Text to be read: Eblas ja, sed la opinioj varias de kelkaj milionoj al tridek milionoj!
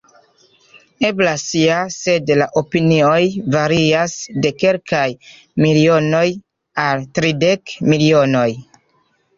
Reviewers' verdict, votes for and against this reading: accepted, 2, 0